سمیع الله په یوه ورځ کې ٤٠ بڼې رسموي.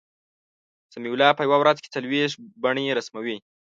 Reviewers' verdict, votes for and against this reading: rejected, 0, 2